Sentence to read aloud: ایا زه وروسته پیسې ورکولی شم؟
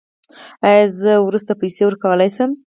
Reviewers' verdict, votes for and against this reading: rejected, 2, 4